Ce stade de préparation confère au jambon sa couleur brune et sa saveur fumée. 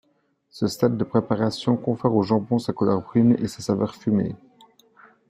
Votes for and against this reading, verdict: 2, 0, accepted